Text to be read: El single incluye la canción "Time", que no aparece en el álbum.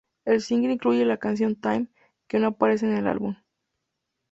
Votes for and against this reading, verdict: 2, 0, accepted